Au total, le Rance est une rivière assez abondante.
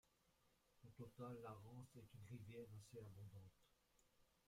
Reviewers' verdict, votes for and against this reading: rejected, 0, 2